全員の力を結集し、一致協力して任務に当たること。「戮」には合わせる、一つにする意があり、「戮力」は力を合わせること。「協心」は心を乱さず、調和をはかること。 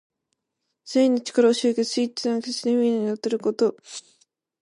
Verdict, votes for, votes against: rejected, 0, 2